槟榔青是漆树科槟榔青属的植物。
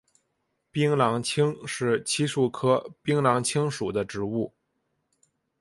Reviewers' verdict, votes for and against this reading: accepted, 4, 0